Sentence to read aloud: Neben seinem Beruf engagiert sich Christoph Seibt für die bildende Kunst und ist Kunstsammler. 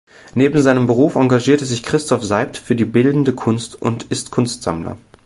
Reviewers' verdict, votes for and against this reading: rejected, 1, 2